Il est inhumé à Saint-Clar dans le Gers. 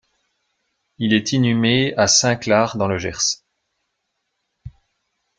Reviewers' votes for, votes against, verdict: 2, 0, accepted